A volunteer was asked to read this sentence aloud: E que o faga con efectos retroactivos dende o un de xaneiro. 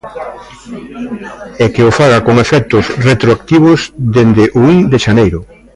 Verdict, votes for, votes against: rejected, 0, 2